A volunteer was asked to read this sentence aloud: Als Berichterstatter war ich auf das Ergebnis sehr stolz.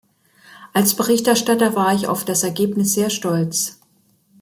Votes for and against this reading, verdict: 2, 0, accepted